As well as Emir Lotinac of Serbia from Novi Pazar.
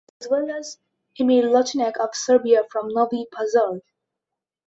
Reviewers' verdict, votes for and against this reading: rejected, 1, 2